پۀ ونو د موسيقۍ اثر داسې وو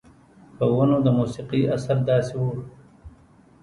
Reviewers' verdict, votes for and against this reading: rejected, 1, 2